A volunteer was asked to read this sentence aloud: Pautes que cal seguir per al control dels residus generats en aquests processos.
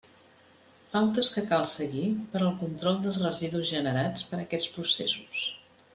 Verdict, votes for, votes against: rejected, 0, 2